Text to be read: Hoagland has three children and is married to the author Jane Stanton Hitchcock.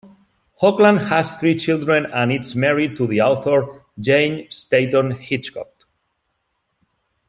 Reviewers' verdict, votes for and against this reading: rejected, 1, 2